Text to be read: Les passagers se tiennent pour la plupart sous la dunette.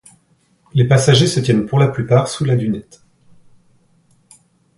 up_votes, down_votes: 2, 0